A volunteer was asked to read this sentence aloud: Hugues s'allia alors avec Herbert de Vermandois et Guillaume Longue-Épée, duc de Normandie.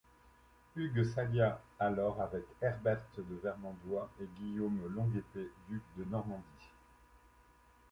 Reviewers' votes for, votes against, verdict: 2, 0, accepted